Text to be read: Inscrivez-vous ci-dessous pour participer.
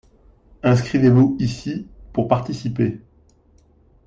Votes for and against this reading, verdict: 0, 2, rejected